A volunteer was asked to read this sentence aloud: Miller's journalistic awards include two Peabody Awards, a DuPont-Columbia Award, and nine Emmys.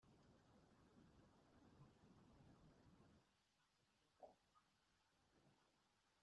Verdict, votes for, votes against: rejected, 0, 2